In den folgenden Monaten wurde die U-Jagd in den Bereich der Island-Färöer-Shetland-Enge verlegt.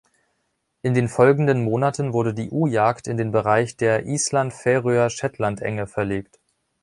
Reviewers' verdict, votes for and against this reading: accepted, 2, 0